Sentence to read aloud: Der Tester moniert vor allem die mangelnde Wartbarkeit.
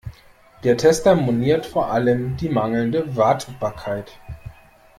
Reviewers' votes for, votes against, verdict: 0, 2, rejected